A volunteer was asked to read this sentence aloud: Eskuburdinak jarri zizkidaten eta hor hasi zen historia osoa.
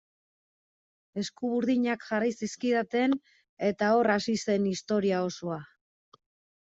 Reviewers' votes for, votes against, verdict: 2, 1, accepted